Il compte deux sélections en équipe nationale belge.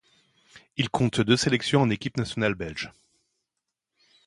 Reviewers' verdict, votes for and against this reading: accepted, 2, 0